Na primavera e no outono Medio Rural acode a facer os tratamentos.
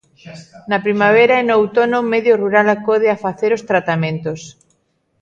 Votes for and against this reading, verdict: 1, 2, rejected